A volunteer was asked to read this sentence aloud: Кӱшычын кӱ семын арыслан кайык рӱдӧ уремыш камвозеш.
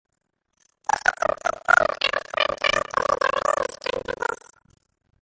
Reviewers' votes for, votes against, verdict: 0, 2, rejected